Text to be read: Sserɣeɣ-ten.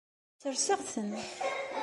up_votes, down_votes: 1, 2